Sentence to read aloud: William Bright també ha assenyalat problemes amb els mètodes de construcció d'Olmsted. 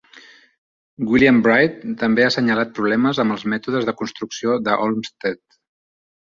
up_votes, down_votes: 1, 2